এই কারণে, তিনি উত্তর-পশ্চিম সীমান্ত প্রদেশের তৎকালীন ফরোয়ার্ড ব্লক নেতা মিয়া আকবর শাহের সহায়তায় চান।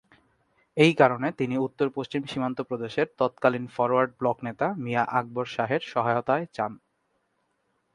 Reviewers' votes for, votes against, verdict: 3, 0, accepted